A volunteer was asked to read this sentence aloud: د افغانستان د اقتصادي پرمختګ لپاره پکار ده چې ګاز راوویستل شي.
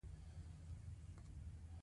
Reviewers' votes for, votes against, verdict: 2, 1, accepted